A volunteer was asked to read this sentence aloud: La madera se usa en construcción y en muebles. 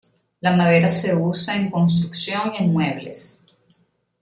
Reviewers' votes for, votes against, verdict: 0, 2, rejected